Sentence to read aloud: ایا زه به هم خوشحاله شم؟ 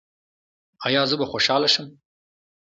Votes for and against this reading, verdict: 2, 0, accepted